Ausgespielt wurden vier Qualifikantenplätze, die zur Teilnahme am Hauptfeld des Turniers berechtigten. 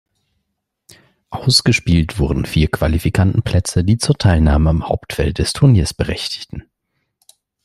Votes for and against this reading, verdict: 2, 0, accepted